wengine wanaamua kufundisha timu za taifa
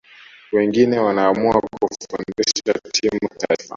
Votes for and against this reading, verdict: 0, 2, rejected